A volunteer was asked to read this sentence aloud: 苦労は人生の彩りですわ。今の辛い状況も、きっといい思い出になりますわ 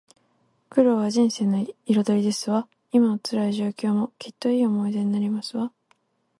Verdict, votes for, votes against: accepted, 4, 0